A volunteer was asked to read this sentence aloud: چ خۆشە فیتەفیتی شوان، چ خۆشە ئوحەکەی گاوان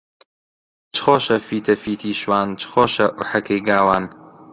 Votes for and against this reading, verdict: 0, 2, rejected